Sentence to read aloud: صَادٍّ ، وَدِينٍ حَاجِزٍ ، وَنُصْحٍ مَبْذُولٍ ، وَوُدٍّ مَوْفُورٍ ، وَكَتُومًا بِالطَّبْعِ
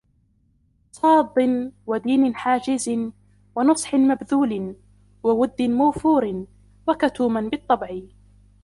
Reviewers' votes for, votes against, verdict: 0, 2, rejected